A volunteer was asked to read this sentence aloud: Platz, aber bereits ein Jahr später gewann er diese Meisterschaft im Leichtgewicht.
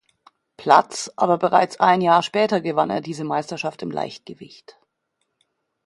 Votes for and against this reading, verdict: 2, 0, accepted